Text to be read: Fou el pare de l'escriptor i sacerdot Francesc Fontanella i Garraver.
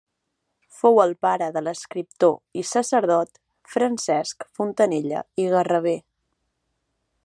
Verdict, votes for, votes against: accepted, 2, 1